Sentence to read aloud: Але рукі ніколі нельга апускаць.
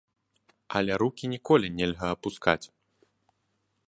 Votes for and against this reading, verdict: 2, 0, accepted